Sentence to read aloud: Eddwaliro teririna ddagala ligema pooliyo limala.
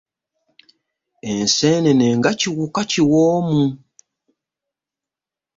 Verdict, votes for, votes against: rejected, 0, 2